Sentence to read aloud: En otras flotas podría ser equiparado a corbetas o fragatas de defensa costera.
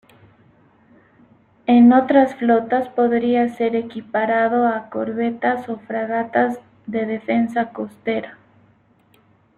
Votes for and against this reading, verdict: 2, 1, accepted